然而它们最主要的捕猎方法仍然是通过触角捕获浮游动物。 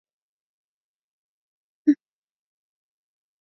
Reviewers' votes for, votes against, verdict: 0, 3, rejected